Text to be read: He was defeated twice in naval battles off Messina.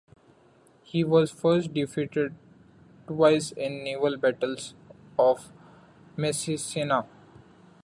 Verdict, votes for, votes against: rejected, 0, 2